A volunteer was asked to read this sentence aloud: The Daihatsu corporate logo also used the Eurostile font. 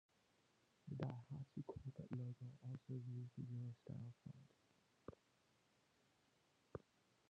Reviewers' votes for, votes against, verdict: 0, 2, rejected